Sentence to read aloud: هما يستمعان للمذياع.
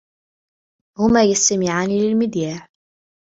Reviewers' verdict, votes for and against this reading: accepted, 2, 0